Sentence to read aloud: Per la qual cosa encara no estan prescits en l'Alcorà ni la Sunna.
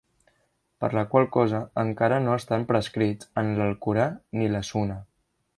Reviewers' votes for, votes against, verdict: 0, 2, rejected